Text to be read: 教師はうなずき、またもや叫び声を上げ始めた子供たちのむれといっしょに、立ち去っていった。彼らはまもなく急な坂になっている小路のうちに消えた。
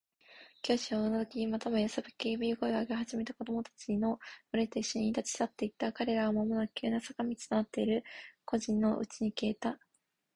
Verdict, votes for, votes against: rejected, 2, 2